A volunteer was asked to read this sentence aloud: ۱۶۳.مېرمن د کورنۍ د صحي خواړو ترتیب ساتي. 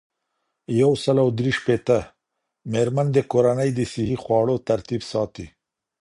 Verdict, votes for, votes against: rejected, 0, 2